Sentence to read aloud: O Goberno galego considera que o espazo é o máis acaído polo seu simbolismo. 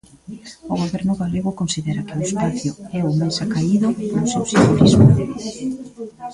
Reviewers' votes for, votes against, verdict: 1, 2, rejected